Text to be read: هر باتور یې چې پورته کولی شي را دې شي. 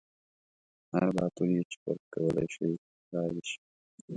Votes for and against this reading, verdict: 2, 0, accepted